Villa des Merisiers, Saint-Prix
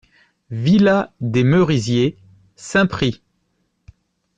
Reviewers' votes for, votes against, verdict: 2, 0, accepted